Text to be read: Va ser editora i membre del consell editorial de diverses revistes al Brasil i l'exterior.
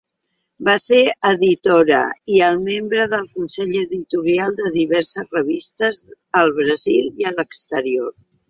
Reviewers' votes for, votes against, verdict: 0, 2, rejected